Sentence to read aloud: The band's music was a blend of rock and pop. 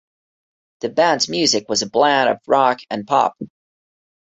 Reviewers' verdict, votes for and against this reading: accepted, 2, 0